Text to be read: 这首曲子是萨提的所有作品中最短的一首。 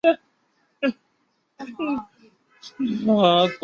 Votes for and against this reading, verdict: 0, 4, rejected